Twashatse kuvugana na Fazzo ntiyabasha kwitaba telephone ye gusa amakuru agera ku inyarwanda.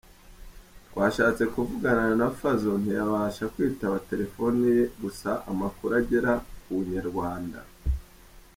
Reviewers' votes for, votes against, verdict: 2, 0, accepted